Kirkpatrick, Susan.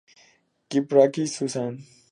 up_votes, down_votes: 0, 4